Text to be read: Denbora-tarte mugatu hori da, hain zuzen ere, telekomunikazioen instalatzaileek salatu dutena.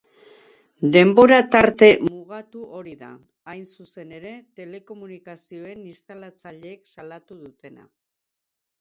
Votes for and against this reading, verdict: 4, 2, accepted